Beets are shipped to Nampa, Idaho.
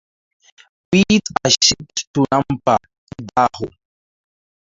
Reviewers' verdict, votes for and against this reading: rejected, 0, 4